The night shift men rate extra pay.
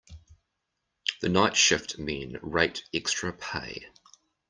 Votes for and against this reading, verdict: 2, 1, accepted